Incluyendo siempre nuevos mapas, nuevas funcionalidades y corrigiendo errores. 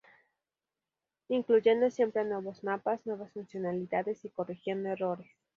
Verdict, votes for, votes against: rejected, 2, 2